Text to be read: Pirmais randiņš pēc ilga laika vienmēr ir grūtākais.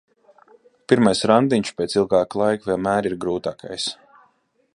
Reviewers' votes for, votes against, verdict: 0, 2, rejected